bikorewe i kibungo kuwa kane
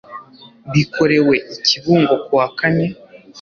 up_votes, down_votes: 3, 0